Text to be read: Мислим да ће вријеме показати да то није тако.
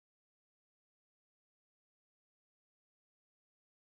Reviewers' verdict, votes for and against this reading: rejected, 0, 2